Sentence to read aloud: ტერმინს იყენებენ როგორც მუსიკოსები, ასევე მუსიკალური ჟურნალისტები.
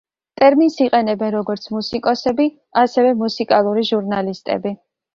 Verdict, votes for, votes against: accepted, 3, 0